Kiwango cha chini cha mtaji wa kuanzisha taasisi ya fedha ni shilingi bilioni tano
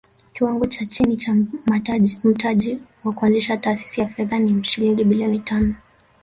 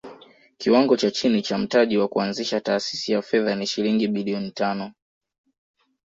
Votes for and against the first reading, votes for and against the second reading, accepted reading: 0, 2, 2, 0, second